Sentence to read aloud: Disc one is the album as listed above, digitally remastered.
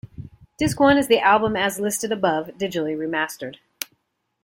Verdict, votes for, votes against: accepted, 2, 0